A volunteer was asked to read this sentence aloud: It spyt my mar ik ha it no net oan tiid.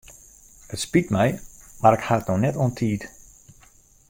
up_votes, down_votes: 2, 0